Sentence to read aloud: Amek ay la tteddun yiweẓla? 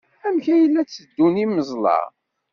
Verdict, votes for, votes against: accepted, 2, 0